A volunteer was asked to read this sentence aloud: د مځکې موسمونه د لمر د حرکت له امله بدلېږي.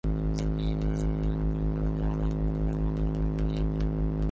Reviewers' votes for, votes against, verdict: 0, 3, rejected